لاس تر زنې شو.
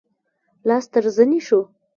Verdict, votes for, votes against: rejected, 1, 2